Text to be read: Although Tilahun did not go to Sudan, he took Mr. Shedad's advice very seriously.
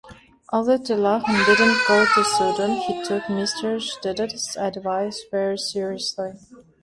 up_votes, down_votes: 2, 1